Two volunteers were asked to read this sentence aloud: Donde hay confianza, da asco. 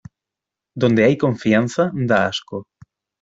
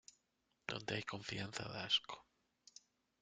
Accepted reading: first